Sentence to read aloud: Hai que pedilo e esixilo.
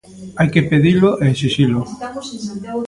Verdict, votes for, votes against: rejected, 1, 2